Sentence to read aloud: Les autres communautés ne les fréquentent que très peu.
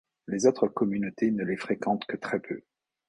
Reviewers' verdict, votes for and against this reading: accepted, 2, 0